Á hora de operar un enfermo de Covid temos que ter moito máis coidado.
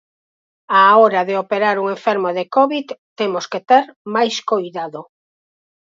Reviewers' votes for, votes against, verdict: 0, 4, rejected